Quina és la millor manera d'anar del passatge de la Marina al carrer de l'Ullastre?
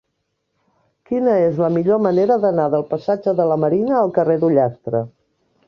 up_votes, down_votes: 1, 2